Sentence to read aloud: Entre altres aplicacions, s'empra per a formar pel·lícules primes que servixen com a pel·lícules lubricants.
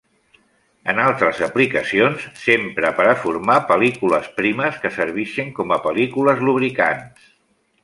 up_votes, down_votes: 2, 0